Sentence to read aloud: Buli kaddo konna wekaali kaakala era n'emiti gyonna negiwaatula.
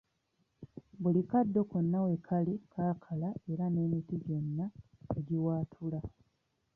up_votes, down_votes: 1, 2